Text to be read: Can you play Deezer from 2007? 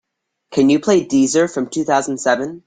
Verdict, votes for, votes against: rejected, 0, 2